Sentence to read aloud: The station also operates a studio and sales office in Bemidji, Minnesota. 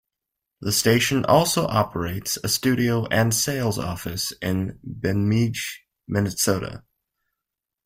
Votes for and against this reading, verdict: 1, 2, rejected